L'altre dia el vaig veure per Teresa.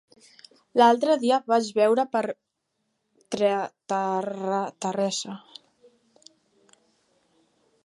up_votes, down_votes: 1, 3